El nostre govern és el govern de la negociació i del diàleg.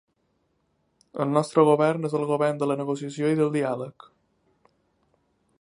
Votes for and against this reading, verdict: 3, 1, accepted